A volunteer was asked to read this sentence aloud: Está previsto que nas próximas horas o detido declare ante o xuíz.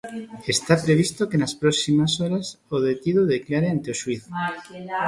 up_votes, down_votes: 0, 2